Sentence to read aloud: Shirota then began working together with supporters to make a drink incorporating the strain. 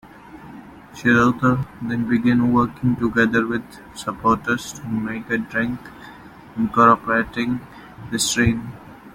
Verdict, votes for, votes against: accepted, 2, 0